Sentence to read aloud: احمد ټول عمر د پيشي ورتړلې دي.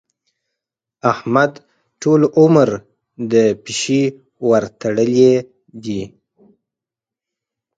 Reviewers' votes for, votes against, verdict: 0, 4, rejected